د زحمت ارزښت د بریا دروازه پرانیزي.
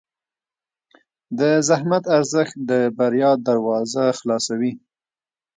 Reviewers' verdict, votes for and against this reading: rejected, 1, 2